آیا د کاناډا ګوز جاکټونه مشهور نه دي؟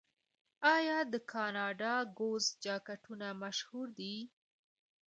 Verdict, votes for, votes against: rejected, 1, 2